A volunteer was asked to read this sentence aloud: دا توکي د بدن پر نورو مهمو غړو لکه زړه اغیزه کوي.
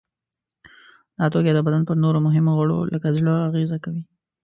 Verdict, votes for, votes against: accepted, 2, 0